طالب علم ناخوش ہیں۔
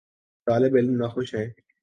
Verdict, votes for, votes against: accepted, 2, 0